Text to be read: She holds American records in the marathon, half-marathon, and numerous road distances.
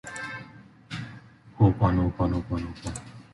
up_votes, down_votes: 1, 2